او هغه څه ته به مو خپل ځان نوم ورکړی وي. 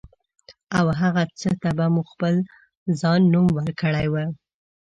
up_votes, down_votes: 0, 2